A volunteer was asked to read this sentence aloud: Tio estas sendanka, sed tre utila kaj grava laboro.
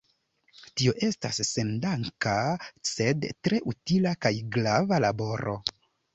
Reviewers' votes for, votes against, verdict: 0, 2, rejected